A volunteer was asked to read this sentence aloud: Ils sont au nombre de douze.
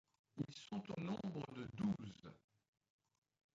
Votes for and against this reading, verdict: 2, 1, accepted